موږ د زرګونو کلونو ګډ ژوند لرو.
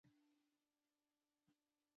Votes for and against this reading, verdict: 0, 2, rejected